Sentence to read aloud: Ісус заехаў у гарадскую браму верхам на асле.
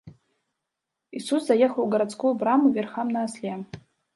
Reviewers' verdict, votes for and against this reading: rejected, 0, 2